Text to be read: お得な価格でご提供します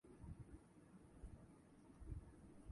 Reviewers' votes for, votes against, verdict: 6, 13, rejected